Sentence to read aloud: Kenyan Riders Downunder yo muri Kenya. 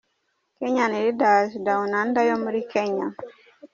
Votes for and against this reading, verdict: 0, 2, rejected